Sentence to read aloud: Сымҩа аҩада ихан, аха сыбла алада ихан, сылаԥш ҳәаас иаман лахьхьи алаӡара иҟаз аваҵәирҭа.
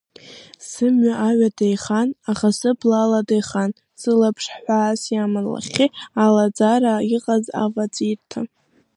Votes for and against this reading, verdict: 2, 0, accepted